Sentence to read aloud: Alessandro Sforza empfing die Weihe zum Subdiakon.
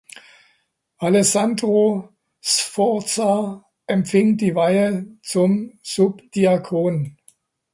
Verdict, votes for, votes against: accepted, 2, 0